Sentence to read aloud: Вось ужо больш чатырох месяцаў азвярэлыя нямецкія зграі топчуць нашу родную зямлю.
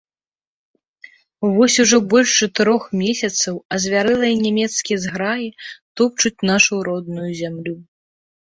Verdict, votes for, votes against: accepted, 2, 0